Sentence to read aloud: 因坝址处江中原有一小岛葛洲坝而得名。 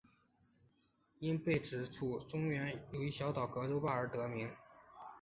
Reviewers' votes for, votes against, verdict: 3, 1, accepted